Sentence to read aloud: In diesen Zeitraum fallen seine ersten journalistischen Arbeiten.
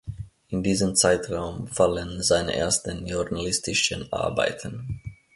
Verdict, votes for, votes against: rejected, 1, 2